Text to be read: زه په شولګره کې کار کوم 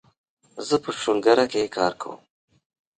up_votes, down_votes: 1, 2